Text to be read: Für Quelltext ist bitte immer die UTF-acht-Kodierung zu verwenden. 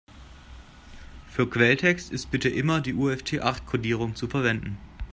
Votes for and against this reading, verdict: 1, 2, rejected